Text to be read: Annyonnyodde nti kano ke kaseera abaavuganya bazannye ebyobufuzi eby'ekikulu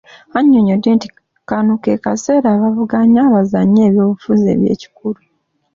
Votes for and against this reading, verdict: 2, 0, accepted